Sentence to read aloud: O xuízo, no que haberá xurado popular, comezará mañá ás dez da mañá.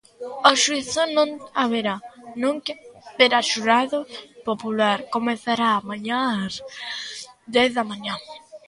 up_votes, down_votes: 0, 2